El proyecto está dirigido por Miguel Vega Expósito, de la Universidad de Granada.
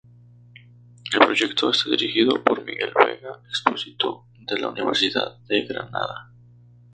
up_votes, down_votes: 0, 2